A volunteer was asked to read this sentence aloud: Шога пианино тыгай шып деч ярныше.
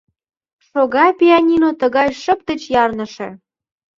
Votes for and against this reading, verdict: 2, 0, accepted